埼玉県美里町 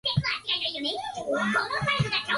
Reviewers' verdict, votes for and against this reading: rejected, 0, 2